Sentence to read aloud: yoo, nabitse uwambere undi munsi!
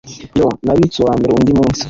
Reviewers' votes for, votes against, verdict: 2, 0, accepted